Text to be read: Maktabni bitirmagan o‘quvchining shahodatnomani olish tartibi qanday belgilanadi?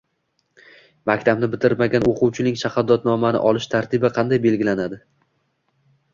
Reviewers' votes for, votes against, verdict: 2, 0, accepted